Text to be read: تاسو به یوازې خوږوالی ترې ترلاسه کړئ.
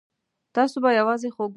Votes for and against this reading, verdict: 1, 2, rejected